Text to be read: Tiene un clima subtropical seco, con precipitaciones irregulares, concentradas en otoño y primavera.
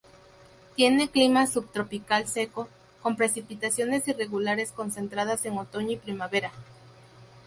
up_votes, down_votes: 0, 2